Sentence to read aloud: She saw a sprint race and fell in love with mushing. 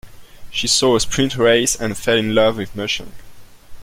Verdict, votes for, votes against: accepted, 2, 0